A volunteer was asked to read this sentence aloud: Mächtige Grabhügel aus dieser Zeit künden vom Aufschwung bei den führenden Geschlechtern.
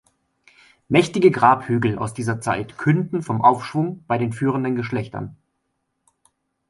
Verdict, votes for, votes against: accepted, 2, 0